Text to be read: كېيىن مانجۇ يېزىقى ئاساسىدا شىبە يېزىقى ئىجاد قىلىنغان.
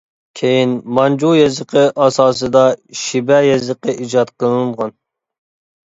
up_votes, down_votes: 3, 0